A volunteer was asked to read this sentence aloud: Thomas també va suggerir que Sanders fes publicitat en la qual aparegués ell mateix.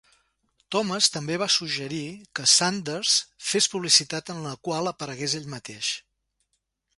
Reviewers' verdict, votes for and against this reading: accepted, 2, 0